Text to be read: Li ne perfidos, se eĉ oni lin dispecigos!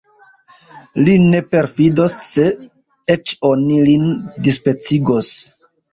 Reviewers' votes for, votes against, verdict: 3, 0, accepted